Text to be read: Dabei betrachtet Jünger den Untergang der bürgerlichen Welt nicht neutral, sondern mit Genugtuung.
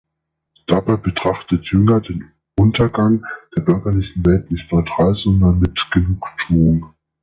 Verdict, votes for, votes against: accepted, 2, 0